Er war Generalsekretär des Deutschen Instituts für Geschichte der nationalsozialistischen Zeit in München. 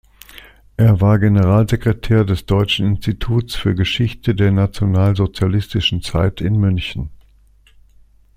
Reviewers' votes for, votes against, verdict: 2, 0, accepted